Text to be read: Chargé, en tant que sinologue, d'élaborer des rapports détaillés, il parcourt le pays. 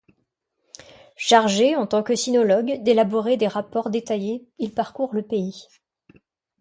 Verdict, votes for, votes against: accepted, 2, 0